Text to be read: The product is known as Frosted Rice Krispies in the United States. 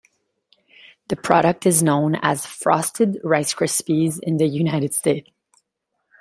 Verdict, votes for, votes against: rejected, 0, 2